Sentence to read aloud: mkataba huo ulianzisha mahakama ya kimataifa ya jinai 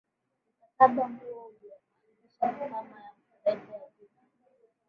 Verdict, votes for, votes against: rejected, 0, 2